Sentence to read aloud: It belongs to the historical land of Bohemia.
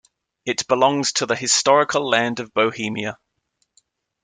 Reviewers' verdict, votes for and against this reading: accepted, 2, 0